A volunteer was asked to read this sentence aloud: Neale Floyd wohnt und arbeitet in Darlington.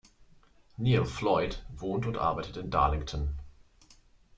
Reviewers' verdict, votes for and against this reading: accepted, 2, 0